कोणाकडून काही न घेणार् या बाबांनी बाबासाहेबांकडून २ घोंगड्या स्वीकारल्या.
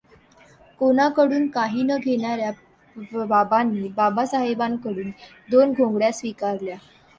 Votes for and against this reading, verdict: 0, 2, rejected